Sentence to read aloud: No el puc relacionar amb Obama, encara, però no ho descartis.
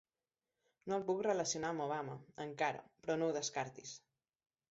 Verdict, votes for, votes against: accepted, 3, 0